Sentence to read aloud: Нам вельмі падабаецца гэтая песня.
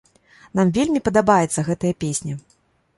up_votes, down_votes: 2, 0